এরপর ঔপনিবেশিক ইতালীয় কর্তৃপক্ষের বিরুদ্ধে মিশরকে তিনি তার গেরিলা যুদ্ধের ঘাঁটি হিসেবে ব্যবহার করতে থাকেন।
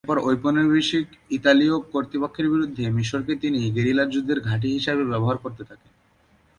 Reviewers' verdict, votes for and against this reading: rejected, 0, 2